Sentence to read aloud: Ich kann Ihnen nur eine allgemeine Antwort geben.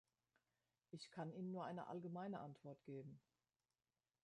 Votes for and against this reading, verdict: 1, 2, rejected